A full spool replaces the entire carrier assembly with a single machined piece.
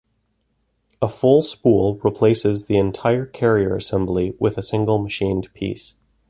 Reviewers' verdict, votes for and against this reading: accepted, 2, 0